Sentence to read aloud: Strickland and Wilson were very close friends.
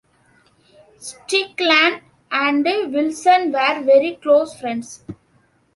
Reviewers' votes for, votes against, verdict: 2, 1, accepted